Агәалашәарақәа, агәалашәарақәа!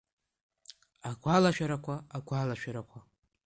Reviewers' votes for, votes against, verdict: 2, 1, accepted